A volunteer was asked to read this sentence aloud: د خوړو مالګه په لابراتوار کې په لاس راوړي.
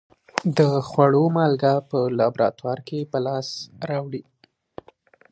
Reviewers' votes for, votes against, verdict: 2, 0, accepted